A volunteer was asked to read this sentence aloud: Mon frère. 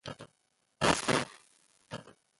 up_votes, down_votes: 0, 2